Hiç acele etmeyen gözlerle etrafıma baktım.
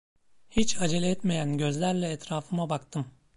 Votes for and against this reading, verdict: 0, 2, rejected